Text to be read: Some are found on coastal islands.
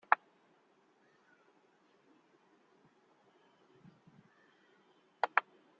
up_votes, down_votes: 0, 3